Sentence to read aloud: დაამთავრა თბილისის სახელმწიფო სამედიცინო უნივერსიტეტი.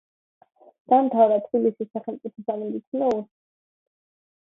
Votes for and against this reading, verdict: 1, 2, rejected